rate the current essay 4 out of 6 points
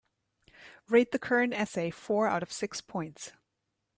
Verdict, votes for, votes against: rejected, 0, 2